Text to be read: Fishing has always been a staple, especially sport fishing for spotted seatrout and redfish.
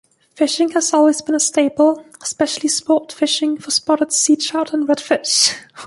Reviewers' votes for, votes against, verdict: 2, 0, accepted